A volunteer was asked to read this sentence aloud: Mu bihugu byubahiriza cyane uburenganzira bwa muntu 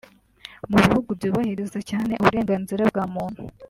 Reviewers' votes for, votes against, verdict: 2, 1, accepted